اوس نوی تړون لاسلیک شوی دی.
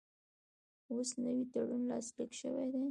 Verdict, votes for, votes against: rejected, 1, 2